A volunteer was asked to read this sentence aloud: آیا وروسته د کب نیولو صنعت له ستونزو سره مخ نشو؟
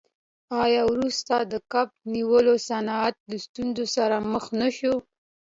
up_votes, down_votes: 1, 2